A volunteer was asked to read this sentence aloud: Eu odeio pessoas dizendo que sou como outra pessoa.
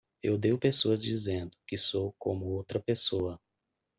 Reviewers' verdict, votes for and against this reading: accepted, 2, 0